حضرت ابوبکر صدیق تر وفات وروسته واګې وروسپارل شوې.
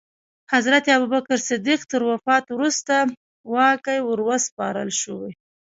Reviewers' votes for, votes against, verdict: 1, 2, rejected